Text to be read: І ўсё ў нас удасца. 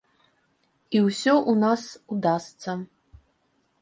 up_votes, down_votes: 2, 0